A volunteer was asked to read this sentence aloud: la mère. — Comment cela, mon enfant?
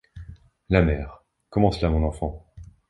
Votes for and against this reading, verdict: 2, 0, accepted